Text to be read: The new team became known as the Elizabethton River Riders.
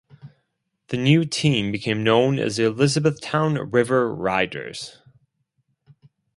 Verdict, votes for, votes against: rejected, 2, 4